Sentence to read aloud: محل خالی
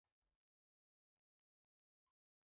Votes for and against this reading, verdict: 0, 2, rejected